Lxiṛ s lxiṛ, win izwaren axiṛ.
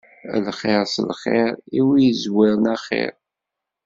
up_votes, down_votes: 1, 2